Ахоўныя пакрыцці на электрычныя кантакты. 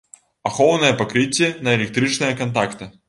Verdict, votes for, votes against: accepted, 3, 1